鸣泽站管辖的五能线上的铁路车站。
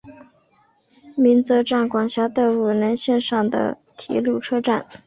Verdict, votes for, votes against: accepted, 8, 3